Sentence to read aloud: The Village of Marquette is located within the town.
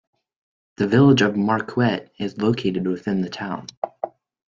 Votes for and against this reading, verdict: 0, 2, rejected